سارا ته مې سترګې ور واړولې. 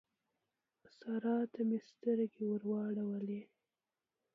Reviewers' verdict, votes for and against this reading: rejected, 1, 2